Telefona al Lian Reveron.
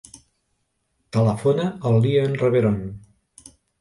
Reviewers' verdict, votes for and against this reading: accepted, 2, 0